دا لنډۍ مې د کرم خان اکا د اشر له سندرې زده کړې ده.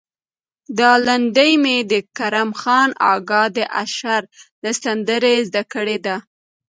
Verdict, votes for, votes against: rejected, 1, 2